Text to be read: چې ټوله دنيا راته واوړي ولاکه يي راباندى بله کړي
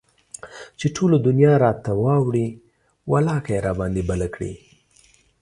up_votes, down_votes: 2, 0